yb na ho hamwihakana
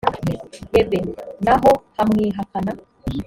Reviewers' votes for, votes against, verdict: 1, 2, rejected